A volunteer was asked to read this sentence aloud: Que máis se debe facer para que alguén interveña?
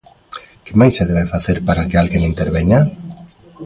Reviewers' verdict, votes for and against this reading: rejected, 0, 2